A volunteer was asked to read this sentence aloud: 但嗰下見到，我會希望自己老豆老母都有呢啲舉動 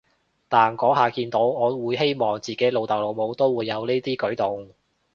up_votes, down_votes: 0, 2